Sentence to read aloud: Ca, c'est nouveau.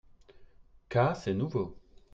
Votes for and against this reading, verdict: 0, 2, rejected